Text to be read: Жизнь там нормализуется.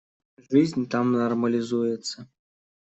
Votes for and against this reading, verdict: 2, 0, accepted